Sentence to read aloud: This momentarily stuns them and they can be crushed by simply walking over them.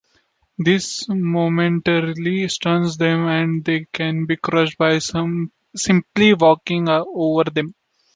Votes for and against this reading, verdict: 2, 1, accepted